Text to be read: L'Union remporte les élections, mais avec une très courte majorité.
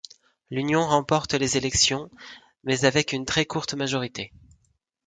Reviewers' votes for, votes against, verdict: 2, 0, accepted